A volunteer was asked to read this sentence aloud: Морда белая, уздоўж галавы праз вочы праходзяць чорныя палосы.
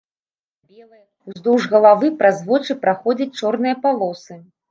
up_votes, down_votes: 0, 2